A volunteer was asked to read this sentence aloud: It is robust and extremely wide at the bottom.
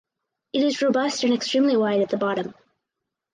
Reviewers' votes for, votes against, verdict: 2, 2, rejected